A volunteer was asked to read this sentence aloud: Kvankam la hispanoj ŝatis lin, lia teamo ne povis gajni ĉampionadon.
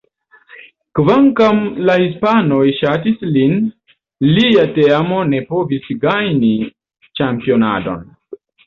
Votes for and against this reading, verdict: 1, 2, rejected